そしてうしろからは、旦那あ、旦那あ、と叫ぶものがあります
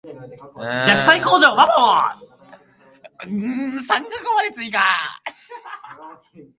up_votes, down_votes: 0, 2